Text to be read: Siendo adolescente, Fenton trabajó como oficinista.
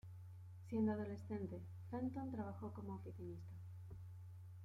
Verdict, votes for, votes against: accepted, 2, 1